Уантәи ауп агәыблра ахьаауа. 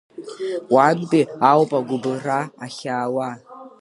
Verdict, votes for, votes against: accepted, 2, 0